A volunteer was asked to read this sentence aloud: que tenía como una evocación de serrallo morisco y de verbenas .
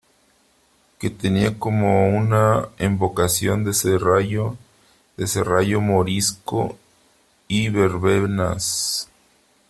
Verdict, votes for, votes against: rejected, 0, 3